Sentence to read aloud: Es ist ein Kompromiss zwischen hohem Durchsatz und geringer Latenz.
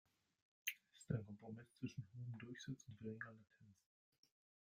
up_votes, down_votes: 0, 2